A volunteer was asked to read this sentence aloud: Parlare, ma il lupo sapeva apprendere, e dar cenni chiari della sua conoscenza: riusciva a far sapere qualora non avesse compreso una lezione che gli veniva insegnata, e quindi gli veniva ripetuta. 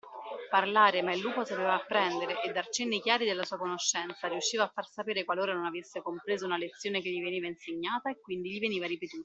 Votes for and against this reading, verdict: 2, 0, accepted